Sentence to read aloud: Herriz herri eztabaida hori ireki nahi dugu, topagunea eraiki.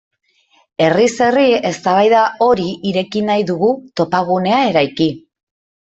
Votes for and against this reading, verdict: 0, 2, rejected